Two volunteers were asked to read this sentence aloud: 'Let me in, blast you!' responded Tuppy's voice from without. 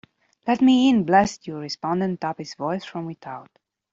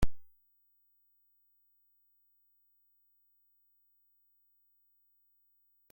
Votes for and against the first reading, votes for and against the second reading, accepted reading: 2, 0, 0, 2, first